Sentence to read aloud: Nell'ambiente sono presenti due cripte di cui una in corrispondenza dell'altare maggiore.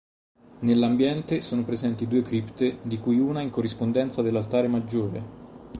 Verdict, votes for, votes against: rejected, 2, 2